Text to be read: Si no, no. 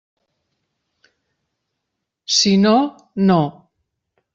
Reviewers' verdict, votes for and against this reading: accepted, 3, 0